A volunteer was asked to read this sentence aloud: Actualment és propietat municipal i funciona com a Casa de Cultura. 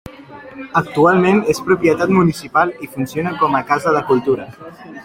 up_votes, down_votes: 4, 0